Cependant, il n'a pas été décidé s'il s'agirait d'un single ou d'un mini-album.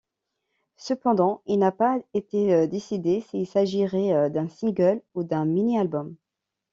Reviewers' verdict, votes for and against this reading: rejected, 1, 2